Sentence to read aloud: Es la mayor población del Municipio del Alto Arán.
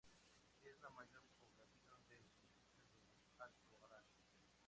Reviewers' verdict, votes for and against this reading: rejected, 0, 2